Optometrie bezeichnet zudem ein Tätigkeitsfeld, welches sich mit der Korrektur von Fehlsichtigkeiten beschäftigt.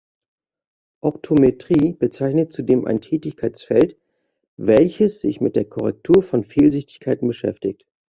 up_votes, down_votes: 2, 0